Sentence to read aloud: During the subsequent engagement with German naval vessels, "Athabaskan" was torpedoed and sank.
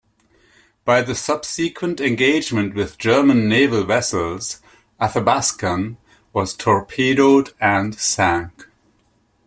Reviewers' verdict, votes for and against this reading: rejected, 0, 2